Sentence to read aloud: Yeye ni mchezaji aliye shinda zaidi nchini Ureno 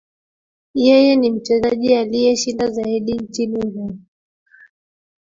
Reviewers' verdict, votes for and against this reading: rejected, 1, 2